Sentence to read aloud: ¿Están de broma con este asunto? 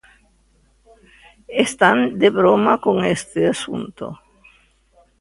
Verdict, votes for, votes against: accepted, 2, 0